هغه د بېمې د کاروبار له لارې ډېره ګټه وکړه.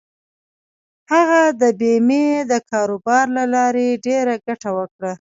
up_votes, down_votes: 2, 0